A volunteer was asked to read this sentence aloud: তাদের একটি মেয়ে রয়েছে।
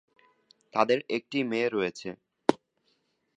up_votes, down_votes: 11, 1